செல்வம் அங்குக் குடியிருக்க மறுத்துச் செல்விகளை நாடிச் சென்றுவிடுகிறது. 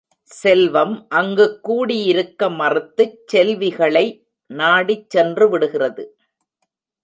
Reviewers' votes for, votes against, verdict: 1, 2, rejected